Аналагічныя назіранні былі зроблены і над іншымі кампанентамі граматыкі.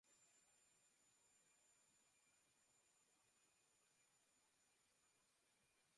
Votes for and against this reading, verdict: 0, 2, rejected